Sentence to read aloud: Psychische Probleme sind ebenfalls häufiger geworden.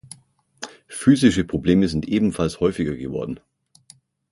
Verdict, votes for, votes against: rejected, 0, 6